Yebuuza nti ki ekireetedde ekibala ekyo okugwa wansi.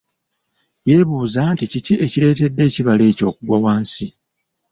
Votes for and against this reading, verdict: 2, 0, accepted